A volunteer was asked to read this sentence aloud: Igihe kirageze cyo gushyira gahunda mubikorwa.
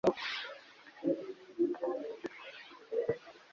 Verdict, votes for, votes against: rejected, 1, 2